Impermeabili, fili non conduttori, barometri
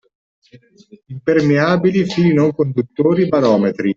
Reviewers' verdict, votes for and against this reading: accepted, 2, 0